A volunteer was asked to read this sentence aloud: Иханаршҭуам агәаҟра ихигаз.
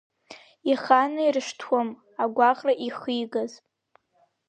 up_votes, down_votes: 3, 0